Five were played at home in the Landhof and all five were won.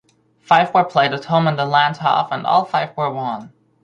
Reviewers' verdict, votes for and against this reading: accepted, 2, 0